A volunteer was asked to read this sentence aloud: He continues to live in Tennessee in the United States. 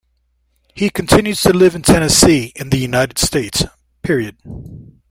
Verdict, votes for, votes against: rejected, 0, 2